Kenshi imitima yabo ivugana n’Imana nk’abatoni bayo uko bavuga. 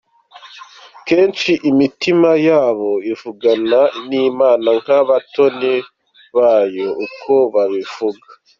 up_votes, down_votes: 1, 2